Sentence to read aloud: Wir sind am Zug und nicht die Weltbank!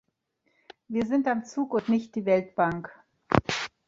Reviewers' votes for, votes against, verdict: 1, 2, rejected